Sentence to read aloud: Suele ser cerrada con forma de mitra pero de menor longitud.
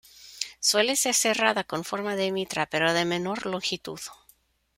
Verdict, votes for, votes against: rejected, 1, 2